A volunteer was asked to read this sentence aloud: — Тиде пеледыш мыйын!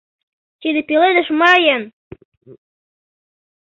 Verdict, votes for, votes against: accepted, 2, 0